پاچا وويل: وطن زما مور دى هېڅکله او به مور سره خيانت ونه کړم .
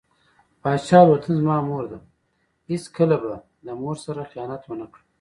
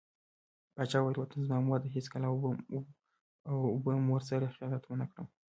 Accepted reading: second